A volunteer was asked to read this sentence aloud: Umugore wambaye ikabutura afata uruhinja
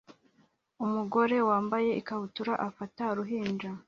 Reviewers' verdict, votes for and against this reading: accepted, 2, 1